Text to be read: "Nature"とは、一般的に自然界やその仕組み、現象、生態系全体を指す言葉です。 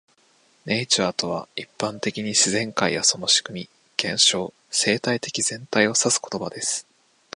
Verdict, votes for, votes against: rejected, 0, 2